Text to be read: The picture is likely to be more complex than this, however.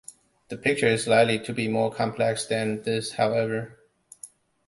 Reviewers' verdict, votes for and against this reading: accepted, 2, 0